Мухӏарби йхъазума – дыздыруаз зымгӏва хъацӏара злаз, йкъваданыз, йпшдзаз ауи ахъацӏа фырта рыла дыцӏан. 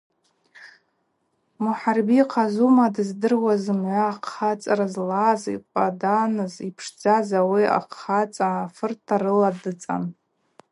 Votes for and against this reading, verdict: 2, 0, accepted